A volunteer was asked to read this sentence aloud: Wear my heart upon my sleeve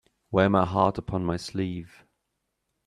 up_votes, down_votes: 2, 0